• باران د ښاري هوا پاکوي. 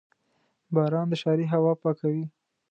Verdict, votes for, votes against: accepted, 2, 0